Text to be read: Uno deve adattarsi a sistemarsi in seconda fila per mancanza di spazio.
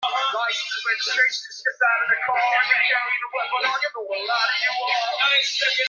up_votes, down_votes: 0, 2